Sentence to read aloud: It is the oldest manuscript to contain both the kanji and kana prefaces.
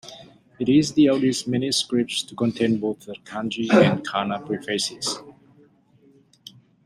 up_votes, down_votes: 2, 1